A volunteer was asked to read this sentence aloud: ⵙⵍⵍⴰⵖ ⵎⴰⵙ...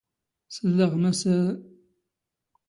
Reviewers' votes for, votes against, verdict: 2, 0, accepted